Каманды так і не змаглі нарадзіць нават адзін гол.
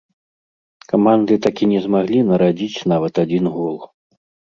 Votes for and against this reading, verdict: 2, 0, accepted